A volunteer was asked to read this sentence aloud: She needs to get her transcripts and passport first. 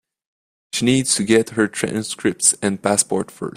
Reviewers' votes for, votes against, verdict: 1, 2, rejected